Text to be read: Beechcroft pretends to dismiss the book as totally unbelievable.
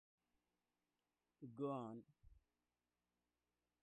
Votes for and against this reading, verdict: 0, 2, rejected